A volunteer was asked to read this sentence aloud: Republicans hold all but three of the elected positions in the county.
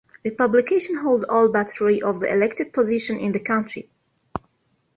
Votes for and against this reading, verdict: 2, 1, accepted